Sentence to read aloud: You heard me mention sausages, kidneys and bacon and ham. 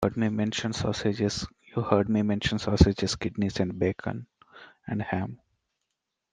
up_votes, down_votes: 0, 2